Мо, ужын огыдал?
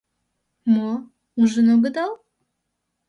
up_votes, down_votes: 2, 0